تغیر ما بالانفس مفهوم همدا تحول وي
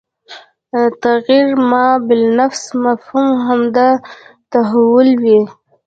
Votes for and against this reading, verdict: 2, 0, accepted